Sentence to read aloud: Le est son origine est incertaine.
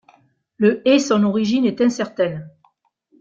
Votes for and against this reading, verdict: 1, 2, rejected